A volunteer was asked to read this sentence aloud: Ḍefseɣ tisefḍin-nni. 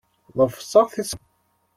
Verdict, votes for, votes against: rejected, 1, 2